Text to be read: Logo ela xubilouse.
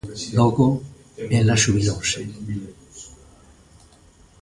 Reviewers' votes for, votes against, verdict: 3, 0, accepted